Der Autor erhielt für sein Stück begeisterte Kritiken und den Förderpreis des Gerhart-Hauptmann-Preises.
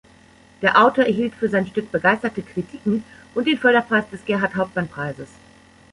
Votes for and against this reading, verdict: 2, 0, accepted